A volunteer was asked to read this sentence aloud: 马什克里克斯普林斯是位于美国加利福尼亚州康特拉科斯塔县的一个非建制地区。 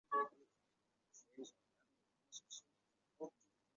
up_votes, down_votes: 0, 2